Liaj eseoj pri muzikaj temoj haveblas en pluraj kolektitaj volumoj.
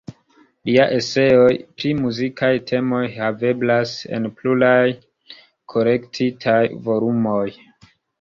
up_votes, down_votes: 0, 2